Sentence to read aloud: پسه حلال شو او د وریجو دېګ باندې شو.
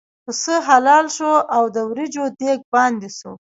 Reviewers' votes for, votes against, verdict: 2, 0, accepted